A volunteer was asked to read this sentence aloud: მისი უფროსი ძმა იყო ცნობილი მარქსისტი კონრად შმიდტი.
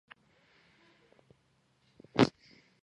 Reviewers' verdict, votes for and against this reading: rejected, 1, 2